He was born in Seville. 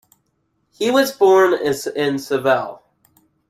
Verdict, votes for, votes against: rejected, 1, 2